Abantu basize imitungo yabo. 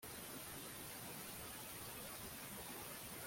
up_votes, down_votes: 0, 2